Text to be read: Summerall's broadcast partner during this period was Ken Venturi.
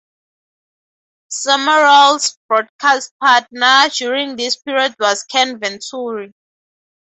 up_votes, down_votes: 4, 2